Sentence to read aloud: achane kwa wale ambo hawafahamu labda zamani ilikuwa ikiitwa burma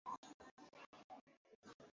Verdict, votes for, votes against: rejected, 0, 2